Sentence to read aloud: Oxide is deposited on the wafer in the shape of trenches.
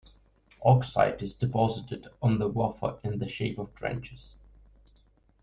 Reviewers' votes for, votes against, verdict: 1, 2, rejected